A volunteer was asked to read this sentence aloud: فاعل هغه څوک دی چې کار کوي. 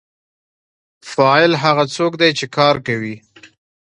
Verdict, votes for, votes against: rejected, 1, 2